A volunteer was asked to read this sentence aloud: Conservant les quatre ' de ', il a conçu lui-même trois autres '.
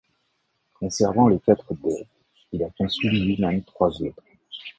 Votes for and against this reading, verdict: 1, 2, rejected